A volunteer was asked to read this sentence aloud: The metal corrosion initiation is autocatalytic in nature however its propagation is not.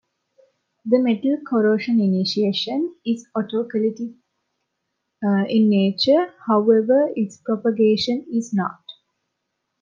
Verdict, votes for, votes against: rejected, 0, 2